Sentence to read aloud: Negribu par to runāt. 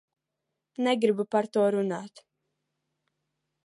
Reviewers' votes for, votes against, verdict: 2, 0, accepted